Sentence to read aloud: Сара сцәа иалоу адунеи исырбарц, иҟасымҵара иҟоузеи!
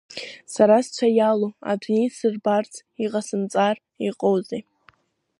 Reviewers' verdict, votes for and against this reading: accepted, 2, 0